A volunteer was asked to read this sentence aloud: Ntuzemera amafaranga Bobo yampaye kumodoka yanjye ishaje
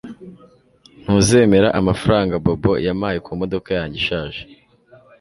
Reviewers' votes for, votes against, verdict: 2, 0, accepted